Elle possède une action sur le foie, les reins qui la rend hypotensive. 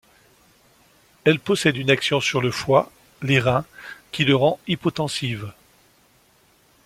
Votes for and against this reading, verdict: 0, 2, rejected